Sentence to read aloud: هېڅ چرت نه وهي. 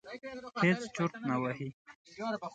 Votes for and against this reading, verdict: 0, 2, rejected